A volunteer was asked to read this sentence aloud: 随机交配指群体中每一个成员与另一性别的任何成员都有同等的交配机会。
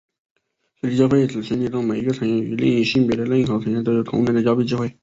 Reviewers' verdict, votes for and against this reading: rejected, 1, 2